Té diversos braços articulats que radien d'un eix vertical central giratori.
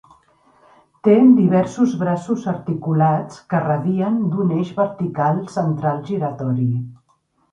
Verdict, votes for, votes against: accepted, 2, 0